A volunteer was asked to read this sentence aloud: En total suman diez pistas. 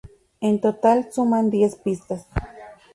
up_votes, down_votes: 2, 0